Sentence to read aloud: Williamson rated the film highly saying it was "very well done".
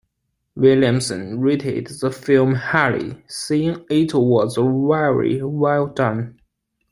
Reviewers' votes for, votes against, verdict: 2, 1, accepted